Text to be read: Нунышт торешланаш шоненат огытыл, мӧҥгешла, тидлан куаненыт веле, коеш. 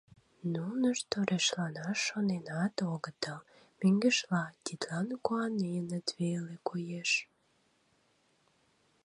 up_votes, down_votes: 1, 2